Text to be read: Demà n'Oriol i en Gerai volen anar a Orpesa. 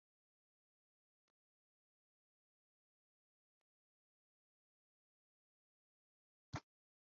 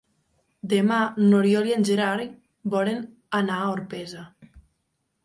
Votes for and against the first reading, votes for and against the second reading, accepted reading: 0, 3, 2, 1, second